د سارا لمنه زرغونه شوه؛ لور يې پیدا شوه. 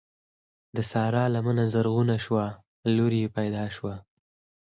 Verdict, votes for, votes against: rejected, 0, 4